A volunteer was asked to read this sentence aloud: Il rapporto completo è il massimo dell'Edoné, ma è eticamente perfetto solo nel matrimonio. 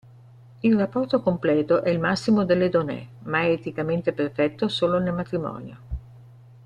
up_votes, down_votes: 3, 1